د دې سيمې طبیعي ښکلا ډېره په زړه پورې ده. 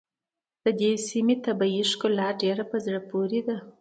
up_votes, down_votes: 2, 0